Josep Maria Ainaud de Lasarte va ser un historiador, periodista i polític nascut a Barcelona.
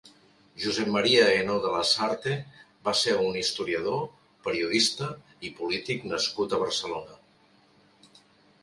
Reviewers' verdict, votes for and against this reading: accepted, 2, 0